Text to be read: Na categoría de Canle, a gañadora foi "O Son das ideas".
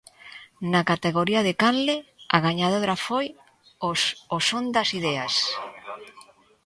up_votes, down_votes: 1, 2